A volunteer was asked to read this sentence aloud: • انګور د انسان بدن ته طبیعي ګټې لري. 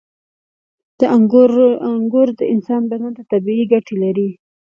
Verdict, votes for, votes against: rejected, 0, 2